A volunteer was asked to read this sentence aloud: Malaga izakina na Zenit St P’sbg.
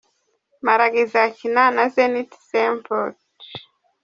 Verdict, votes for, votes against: rejected, 0, 2